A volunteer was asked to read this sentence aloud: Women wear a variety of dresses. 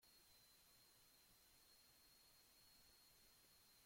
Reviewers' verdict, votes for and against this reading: rejected, 0, 2